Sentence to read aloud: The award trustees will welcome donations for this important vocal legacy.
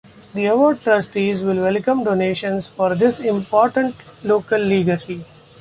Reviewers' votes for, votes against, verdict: 0, 2, rejected